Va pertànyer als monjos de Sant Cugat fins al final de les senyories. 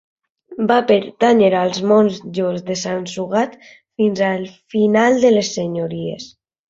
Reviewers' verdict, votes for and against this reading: rejected, 0, 2